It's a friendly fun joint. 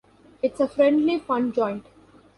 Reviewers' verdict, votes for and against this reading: accepted, 3, 0